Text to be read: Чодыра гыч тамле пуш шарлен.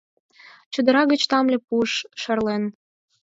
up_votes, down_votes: 0, 4